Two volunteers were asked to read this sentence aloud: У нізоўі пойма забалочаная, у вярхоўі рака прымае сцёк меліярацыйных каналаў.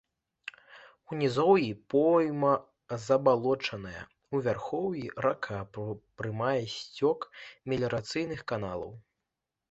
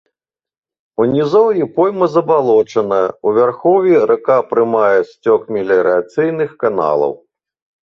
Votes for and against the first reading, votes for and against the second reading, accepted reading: 1, 2, 2, 0, second